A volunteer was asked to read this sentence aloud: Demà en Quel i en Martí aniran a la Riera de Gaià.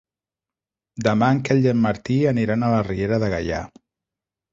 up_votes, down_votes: 2, 0